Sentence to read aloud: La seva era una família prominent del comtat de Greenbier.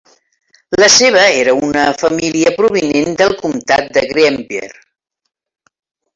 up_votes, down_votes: 3, 1